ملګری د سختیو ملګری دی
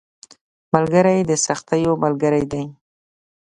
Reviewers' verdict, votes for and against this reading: accepted, 2, 0